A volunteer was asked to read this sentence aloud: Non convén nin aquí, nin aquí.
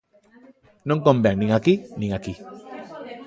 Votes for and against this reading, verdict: 2, 0, accepted